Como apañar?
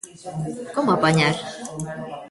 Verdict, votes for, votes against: accepted, 2, 0